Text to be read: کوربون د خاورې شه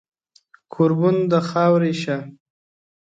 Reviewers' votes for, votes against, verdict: 1, 2, rejected